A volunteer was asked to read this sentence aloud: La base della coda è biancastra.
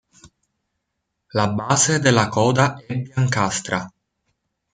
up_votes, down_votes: 1, 2